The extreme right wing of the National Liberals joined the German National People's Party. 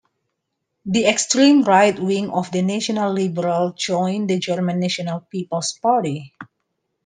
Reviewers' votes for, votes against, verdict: 2, 1, accepted